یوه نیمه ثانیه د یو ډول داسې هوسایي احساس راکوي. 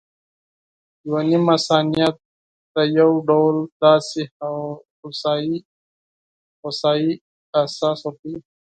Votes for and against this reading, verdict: 2, 4, rejected